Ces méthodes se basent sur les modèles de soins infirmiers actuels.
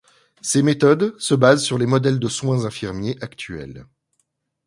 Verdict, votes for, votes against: accepted, 2, 0